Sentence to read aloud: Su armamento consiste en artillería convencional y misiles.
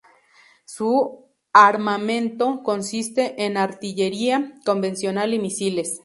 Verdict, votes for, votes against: rejected, 2, 2